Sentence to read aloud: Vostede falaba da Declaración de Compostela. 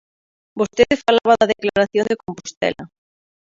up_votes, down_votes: 1, 2